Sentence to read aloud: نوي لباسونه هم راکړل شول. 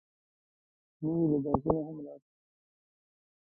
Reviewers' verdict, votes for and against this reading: rejected, 0, 2